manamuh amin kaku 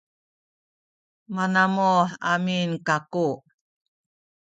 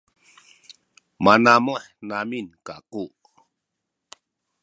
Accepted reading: second